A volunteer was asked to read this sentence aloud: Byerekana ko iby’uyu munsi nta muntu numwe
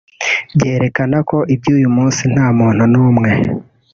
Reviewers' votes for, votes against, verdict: 0, 2, rejected